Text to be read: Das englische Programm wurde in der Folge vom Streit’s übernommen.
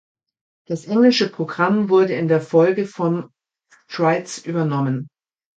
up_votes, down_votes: 2, 3